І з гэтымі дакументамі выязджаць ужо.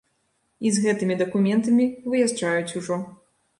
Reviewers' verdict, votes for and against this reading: rejected, 0, 2